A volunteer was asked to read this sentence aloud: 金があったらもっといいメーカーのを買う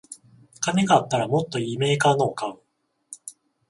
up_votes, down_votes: 0, 14